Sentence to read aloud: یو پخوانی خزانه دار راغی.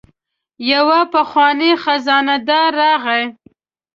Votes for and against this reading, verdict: 0, 2, rejected